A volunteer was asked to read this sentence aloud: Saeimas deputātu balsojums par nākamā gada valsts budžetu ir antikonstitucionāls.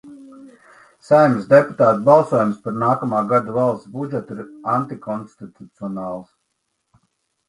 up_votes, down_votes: 2, 1